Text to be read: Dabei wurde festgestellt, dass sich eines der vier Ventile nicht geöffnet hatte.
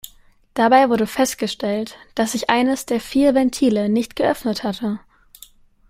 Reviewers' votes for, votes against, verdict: 2, 0, accepted